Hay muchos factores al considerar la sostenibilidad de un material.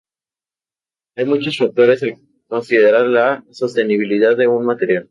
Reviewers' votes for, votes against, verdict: 0, 2, rejected